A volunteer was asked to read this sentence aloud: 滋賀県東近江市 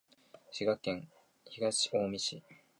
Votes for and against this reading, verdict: 2, 0, accepted